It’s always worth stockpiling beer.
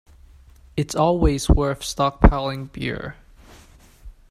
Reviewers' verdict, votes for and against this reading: accepted, 2, 0